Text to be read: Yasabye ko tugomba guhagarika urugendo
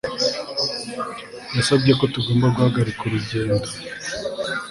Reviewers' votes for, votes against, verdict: 2, 0, accepted